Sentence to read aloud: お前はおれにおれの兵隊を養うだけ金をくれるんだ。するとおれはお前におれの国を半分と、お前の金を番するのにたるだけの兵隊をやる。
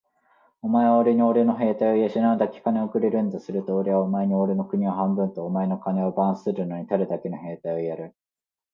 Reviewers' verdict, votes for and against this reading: rejected, 0, 2